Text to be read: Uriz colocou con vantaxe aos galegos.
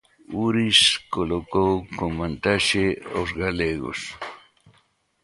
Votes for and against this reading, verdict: 2, 0, accepted